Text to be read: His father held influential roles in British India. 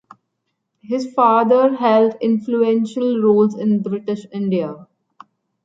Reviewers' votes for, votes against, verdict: 2, 0, accepted